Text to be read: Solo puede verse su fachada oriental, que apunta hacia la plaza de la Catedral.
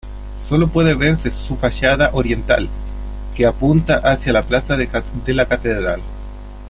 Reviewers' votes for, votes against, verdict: 0, 2, rejected